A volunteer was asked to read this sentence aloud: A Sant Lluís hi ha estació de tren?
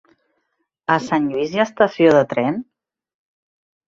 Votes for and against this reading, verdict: 3, 1, accepted